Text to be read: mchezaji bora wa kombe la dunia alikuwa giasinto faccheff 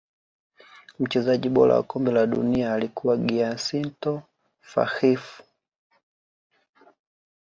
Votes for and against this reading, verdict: 2, 1, accepted